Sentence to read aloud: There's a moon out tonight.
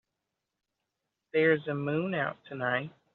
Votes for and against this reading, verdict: 3, 0, accepted